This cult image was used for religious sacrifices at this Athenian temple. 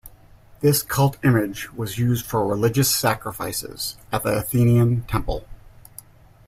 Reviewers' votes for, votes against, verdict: 1, 2, rejected